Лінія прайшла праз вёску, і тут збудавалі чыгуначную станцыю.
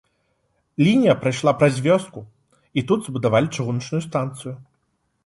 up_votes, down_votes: 2, 0